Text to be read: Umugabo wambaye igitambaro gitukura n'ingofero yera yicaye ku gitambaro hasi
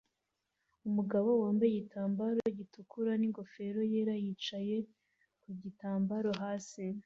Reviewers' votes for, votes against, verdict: 2, 0, accepted